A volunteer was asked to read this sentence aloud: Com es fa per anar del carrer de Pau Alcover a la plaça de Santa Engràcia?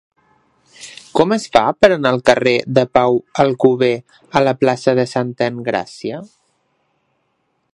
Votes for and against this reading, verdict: 0, 2, rejected